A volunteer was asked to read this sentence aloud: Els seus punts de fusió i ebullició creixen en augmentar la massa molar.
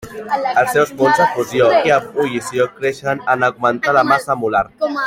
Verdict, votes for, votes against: accepted, 2, 1